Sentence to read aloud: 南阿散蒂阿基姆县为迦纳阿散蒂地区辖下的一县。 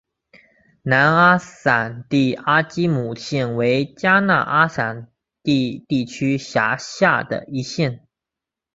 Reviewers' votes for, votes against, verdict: 2, 0, accepted